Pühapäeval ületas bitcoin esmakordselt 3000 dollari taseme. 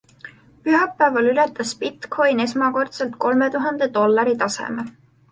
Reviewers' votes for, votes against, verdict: 0, 2, rejected